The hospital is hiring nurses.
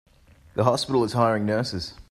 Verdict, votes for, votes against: accepted, 2, 0